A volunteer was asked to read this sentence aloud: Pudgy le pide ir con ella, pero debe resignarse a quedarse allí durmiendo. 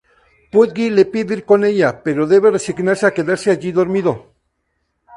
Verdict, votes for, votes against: rejected, 0, 2